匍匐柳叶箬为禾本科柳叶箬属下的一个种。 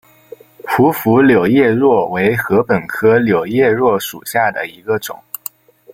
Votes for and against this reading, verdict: 1, 2, rejected